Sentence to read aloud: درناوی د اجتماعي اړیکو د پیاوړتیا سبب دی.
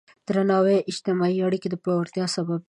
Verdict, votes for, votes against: accepted, 3, 0